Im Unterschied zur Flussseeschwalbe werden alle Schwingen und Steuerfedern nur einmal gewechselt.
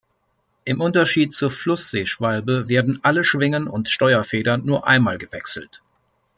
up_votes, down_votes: 2, 0